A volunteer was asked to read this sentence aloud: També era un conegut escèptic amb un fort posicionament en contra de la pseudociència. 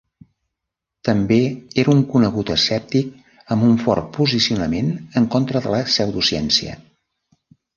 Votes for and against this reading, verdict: 2, 0, accepted